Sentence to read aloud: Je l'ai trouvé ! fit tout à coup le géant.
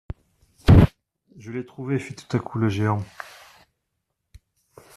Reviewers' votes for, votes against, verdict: 1, 2, rejected